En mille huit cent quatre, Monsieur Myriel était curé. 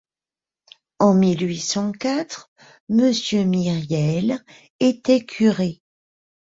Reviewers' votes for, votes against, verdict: 2, 0, accepted